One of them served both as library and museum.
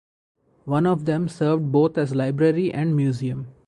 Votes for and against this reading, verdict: 2, 2, rejected